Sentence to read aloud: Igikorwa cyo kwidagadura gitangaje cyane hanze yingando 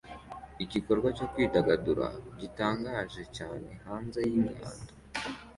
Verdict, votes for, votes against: accepted, 2, 0